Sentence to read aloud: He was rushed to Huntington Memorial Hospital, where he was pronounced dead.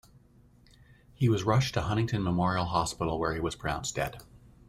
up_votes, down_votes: 2, 1